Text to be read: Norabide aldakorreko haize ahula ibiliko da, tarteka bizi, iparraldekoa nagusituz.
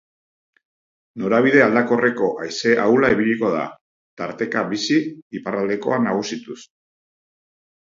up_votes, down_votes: 2, 0